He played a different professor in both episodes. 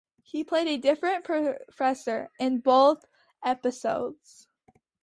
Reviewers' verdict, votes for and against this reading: accepted, 2, 0